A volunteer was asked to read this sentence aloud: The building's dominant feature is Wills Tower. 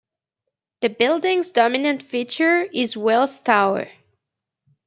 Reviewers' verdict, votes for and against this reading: accepted, 2, 0